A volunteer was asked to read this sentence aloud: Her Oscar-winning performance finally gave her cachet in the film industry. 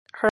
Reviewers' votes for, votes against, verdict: 0, 2, rejected